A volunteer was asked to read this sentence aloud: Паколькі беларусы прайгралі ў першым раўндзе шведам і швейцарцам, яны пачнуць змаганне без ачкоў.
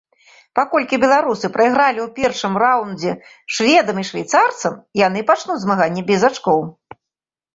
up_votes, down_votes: 2, 0